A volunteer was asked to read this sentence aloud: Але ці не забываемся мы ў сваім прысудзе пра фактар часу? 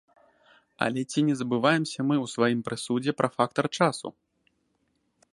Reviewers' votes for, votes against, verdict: 2, 0, accepted